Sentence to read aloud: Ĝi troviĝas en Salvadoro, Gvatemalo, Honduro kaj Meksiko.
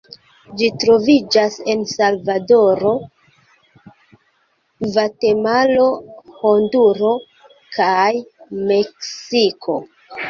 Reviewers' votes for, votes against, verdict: 2, 0, accepted